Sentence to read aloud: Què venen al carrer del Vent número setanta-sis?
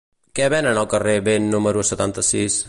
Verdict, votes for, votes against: rejected, 1, 2